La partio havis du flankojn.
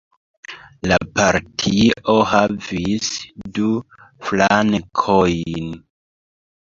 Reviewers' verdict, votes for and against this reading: rejected, 0, 3